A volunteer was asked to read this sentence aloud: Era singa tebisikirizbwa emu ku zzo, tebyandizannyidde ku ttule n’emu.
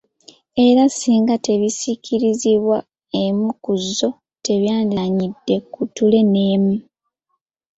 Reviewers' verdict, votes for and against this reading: accepted, 2, 1